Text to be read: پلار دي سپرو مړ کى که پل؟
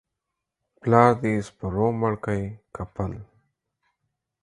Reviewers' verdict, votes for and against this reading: accepted, 4, 0